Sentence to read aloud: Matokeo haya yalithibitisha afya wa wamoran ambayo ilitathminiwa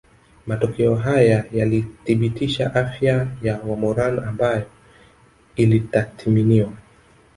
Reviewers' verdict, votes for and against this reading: rejected, 0, 2